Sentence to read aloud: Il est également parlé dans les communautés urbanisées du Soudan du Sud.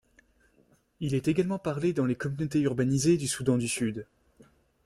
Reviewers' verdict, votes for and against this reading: accepted, 2, 0